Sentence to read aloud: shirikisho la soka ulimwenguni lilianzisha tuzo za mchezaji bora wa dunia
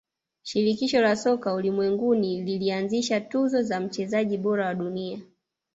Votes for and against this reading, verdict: 1, 2, rejected